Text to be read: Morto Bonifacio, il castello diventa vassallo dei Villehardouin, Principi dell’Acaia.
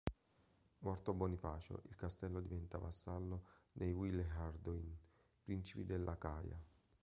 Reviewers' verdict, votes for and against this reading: rejected, 2, 3